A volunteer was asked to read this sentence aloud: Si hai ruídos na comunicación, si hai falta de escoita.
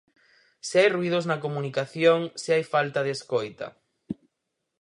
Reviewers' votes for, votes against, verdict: 2, 2, rejected